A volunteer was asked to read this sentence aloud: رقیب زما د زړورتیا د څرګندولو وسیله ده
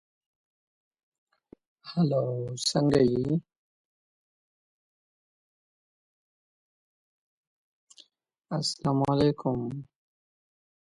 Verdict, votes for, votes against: rejected, 1, 2